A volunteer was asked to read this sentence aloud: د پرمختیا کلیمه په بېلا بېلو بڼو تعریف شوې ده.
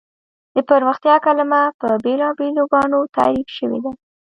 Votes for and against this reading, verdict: 1, 2, rejected